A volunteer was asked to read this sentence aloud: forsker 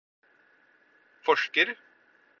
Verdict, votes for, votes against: accepted, 4, 0